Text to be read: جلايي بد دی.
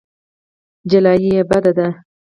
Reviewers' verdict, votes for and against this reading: accepted, 4, 0